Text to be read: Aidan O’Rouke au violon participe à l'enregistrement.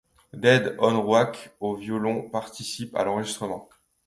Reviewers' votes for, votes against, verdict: 0, 2, rejected